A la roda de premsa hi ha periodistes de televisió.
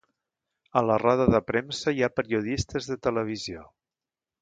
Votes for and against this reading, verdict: 2, 0, accepted